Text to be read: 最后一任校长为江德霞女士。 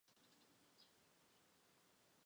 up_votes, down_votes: 0, 3